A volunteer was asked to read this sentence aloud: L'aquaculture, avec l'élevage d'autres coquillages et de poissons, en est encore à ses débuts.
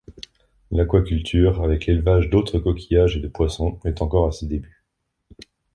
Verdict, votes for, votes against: rejected, 0, 2